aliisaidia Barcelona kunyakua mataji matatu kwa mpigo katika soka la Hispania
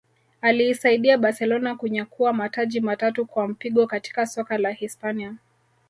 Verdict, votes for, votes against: rejected, 0, 2